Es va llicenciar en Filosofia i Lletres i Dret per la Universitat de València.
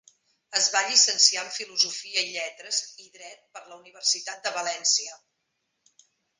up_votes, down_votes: 2, 0